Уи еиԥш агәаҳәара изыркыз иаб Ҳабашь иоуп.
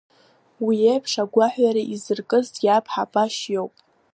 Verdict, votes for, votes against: accepted, 2, 0